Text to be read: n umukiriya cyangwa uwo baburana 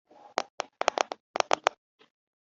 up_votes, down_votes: 0, 3